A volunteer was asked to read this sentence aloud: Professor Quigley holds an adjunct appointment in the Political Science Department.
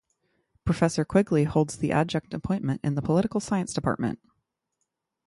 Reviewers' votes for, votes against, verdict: 0, 3, rejected